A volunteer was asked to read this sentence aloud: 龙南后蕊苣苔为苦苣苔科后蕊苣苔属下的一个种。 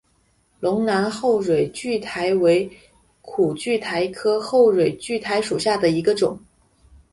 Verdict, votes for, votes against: accepted, 4, 0